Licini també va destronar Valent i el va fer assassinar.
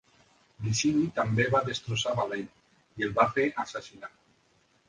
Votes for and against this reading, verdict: 0, 2, rejected